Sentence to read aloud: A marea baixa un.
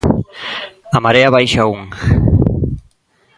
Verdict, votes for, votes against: accepted, 3, 1